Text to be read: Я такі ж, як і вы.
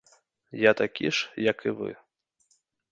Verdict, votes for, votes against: accepted, 2, 0